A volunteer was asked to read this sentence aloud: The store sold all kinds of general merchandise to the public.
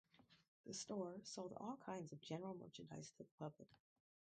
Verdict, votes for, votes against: rejected, 2, 2